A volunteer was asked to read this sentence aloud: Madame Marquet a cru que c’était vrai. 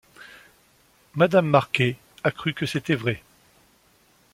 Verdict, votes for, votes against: accepted, 2, 0